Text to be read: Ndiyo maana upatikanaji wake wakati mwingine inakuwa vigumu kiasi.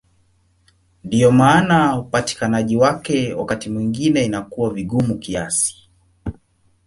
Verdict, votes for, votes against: accepted, 2, 0